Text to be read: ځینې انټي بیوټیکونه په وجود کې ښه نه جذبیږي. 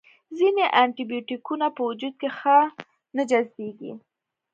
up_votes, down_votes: 2, 0